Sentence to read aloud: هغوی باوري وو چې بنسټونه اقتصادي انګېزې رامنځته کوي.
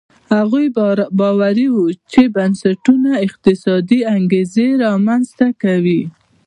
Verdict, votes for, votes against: accepted, 2, 0